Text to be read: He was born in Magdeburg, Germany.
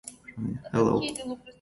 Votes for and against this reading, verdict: 0, 2, rejected